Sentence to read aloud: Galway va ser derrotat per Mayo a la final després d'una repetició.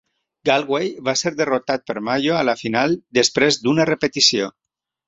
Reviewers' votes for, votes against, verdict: 3, 0, accepted